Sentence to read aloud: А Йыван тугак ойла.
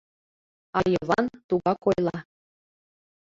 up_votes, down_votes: 2, 0